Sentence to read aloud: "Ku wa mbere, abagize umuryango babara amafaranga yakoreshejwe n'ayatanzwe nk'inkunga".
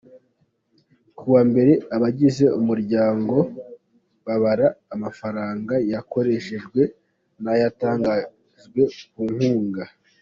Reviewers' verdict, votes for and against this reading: rejected, 1, 2